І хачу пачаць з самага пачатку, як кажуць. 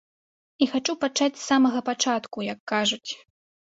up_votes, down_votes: 2, 0